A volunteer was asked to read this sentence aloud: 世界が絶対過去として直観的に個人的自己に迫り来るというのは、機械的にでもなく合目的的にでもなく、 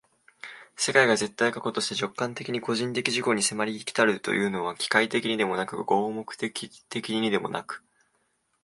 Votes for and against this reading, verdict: 2, 1, accepted